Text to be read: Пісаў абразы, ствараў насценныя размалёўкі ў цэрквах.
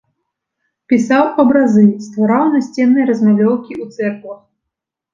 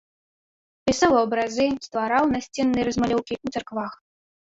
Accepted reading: first